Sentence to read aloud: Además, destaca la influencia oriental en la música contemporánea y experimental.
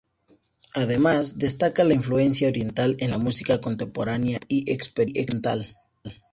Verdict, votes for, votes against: rejected, 0, 2